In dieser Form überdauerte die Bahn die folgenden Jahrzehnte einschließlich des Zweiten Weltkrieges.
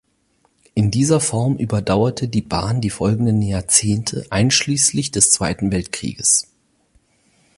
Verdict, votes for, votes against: accepted, 4, 0